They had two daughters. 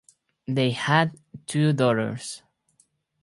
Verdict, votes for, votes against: accepted, 4, 0